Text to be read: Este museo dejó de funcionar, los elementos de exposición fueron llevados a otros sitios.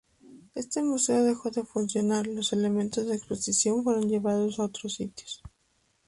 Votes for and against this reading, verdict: 2, 2, rejected